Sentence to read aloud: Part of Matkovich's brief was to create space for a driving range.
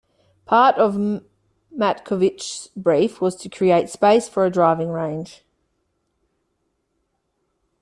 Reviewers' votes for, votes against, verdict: 0, 2, rejected